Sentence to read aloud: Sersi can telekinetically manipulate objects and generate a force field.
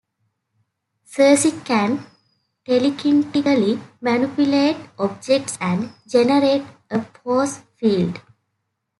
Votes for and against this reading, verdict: 2, 0, accepted